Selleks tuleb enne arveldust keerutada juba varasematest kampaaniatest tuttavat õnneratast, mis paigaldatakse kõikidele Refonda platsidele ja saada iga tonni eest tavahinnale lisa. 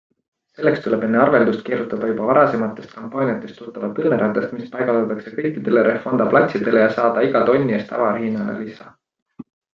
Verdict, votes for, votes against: accepted, 2, 0